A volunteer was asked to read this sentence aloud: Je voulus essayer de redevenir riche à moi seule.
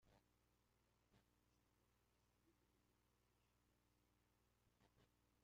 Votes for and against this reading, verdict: 0, 2, rejected